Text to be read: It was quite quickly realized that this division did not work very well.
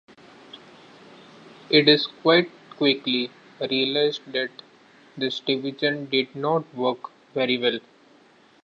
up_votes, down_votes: 1, 2